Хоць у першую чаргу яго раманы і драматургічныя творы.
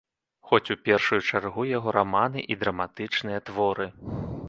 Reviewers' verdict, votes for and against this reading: rejected, 1, 2